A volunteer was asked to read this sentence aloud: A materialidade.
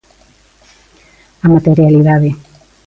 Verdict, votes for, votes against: accepted, 2, 0